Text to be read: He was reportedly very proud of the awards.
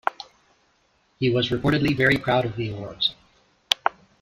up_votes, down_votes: 0, 2